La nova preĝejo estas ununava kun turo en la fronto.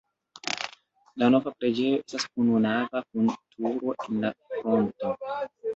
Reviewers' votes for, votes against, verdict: 1, 2, rejected